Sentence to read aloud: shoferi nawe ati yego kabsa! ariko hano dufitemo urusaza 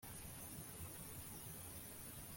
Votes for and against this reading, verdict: 1, 2, rejected